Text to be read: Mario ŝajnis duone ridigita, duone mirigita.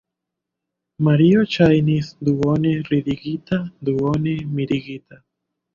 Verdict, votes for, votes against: rejected, 1, 2